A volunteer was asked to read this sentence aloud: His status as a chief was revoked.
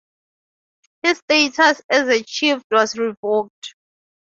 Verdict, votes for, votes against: accepted, 4, 0